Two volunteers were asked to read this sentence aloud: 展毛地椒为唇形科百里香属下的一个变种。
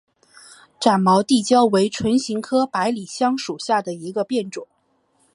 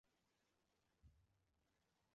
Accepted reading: first